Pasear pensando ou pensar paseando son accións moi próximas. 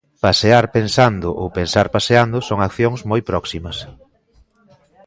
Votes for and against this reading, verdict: 2, 0, accepted